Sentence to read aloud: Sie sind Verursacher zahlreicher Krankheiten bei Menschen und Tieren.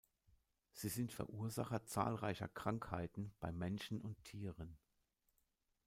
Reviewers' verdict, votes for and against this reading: accepted, 2, 0